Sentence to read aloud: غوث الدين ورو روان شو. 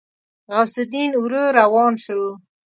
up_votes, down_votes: 2, 0